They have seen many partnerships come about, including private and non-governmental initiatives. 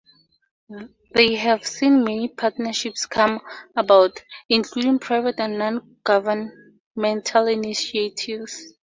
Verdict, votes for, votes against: rejected, 2, 2